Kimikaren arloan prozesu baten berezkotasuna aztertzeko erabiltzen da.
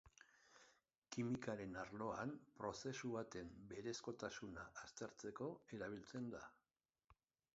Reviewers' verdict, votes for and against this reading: accepted, 3, 0